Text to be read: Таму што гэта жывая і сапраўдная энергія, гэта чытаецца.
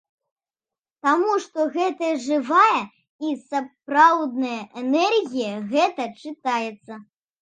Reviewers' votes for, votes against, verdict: 2, 0, accepted